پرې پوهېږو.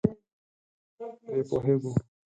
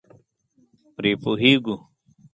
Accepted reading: second